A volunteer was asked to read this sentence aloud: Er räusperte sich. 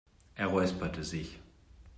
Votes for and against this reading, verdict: 2, 0, accepted